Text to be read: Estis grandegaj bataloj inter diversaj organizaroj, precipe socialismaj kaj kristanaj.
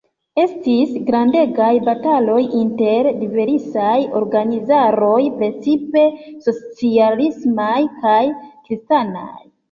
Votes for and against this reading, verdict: 1, 2, rejected